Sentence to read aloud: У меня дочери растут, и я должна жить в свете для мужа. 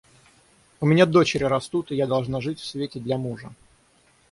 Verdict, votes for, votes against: rejected, 3, 3